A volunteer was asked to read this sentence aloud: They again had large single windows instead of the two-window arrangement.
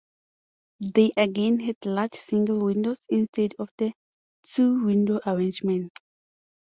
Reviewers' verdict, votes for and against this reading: accepted, 2, 0